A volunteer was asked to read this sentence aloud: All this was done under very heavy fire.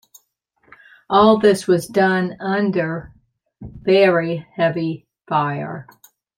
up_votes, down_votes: 2, 0